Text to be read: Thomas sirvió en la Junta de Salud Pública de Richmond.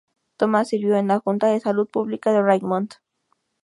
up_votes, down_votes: 2, 0